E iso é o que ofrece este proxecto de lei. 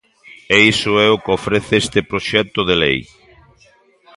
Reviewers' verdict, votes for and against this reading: accepted, 2, 0